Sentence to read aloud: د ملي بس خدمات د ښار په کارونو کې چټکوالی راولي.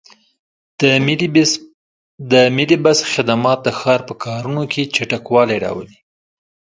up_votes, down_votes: 2, 1